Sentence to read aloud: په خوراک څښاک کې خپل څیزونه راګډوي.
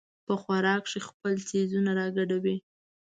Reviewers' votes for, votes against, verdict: 1, 2, rejected